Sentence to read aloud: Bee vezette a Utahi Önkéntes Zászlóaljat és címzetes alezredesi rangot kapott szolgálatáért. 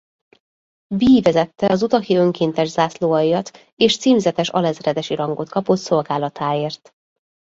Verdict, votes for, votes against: rejected, 0, 2